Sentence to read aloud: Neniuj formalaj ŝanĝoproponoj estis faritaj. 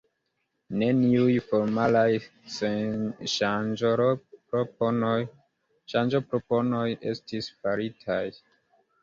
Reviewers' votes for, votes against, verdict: 1, 2, rejected